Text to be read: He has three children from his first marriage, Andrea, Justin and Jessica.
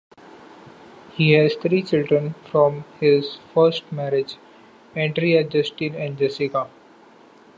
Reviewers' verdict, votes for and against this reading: accepted, 2, 0